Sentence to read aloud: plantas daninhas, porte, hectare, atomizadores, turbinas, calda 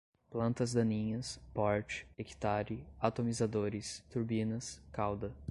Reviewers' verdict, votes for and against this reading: accepted, 2, 0